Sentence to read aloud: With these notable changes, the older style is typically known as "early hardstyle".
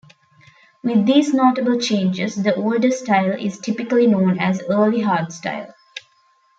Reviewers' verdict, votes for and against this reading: accepted, 2, 0